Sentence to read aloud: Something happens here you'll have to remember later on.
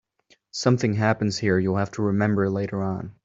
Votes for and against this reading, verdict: 2, 0, accepted